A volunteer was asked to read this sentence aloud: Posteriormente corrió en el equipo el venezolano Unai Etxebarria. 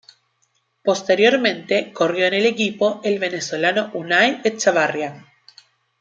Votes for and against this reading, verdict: 2, 0, accepted